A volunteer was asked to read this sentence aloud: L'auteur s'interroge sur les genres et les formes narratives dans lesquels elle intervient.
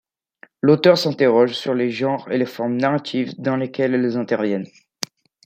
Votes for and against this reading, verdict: 1, 2, rejected